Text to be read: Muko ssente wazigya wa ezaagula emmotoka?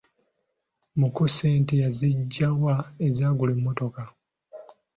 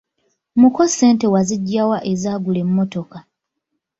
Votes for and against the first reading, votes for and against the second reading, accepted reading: 1, 2, 2, 1, second